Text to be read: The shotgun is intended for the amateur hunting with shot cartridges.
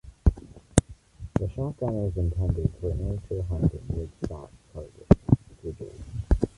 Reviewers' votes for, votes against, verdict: 1, 2, rejected